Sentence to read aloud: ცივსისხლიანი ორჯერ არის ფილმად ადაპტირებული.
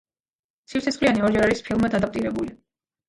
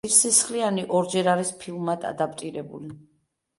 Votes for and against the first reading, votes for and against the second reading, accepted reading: 2, 1, 0, 2, first